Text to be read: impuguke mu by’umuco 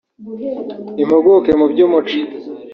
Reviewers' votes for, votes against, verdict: 2, 1, accepted